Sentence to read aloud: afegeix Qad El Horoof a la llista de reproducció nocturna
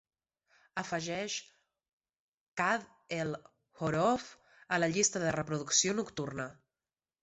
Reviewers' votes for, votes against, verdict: 2, 0, accepted